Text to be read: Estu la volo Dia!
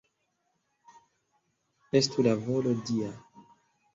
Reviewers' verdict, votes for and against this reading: accepted, 2, 1